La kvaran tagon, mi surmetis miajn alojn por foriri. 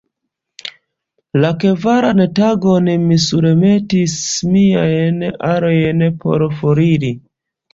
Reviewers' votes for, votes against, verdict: 1, 2, rejected